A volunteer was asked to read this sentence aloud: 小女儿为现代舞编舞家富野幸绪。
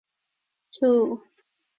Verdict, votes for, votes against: rejected, 0, 2